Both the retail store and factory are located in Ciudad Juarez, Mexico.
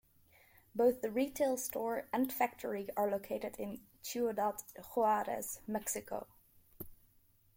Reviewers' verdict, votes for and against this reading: rejected, 1, 2